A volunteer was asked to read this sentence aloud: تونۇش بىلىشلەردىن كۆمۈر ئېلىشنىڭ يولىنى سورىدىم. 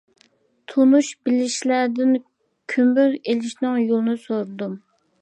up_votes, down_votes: 2, 0